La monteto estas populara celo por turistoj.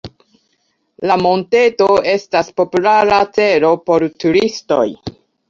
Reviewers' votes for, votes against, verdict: 2, 0, accepted